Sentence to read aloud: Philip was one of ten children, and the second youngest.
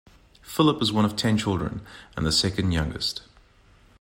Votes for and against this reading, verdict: 2, 0, accepted